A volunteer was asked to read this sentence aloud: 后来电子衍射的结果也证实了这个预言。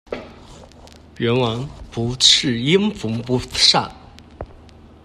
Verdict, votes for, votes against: rejected, 0, 2